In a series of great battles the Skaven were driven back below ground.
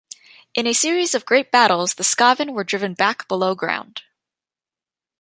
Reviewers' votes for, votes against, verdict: 2, 0, accepted